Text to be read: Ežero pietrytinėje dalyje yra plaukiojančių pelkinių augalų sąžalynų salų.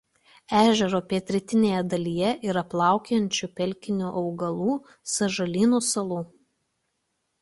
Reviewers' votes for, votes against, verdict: 2, 0, accepted